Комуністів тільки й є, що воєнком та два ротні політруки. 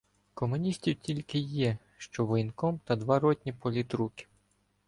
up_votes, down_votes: 2, 0